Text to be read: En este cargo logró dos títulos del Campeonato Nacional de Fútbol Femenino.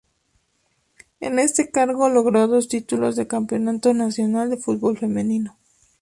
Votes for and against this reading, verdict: 2, 0, accepted